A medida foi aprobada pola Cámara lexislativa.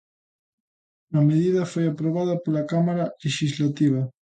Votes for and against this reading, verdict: 2, 0, accepted